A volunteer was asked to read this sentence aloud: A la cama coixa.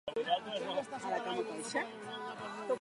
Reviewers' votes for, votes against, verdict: 0, 3, rejected